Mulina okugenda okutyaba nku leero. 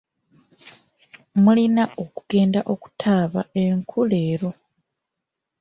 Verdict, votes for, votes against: rejected, 1, 2